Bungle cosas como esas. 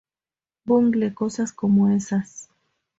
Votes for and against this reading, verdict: 2, 0, accepted